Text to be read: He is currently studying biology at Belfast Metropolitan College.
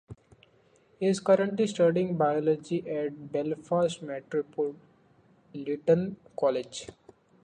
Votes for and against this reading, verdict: 2, 1, accepted